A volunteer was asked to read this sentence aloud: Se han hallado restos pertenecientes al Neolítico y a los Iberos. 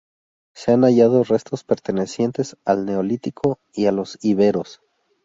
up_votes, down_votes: 2, 0